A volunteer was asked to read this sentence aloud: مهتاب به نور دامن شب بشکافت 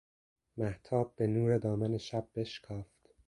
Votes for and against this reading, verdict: 2, 0, accepted